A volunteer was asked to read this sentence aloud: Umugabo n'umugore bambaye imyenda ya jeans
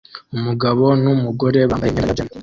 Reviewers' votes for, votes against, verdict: 0, 2, rejected